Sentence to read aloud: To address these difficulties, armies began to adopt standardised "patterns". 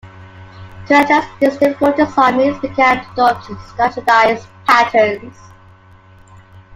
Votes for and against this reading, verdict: 2, 1, accepted